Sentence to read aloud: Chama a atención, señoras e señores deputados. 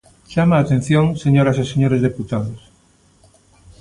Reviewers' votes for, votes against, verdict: 2, 0, accepted